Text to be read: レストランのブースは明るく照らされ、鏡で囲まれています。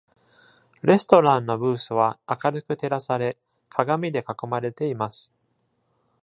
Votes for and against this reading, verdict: 2, 0, accepted